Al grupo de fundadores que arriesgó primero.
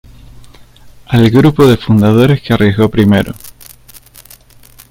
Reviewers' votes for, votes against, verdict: 2, 0, accepted